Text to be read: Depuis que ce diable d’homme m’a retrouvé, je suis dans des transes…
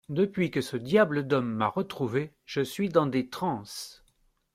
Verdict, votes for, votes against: accepted, 2, 0